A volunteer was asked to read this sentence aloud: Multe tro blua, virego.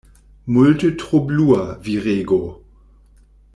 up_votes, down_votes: 2, 0